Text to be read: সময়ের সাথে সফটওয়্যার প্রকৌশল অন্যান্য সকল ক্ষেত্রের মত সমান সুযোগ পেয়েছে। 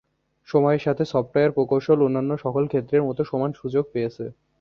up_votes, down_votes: 2, 0